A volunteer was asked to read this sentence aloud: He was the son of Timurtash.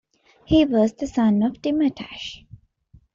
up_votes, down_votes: 2, 0